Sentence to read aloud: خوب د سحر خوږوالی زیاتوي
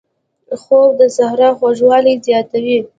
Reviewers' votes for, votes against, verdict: 1, 2, rejected